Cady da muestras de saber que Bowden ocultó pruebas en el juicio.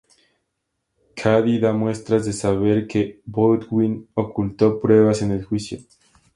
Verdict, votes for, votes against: accepted, 2, 0